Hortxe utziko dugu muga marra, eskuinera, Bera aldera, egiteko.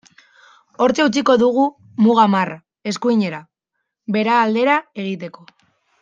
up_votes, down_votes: 2, 0